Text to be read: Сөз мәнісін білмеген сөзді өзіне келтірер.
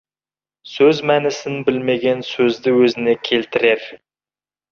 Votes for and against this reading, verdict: 2, 0, accepted